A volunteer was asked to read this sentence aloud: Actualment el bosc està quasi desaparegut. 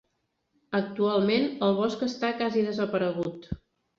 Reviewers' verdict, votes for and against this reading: rejected, 0, 2